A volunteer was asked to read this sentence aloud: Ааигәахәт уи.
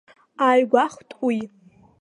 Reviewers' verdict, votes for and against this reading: accepted, 2, 0